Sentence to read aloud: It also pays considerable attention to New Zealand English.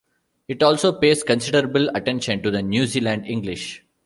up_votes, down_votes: 1, 2